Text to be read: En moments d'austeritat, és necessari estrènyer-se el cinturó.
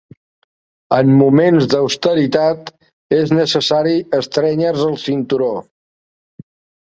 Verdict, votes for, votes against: rejected, 0, 2